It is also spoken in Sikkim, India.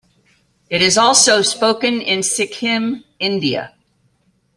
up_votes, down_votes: 2, 0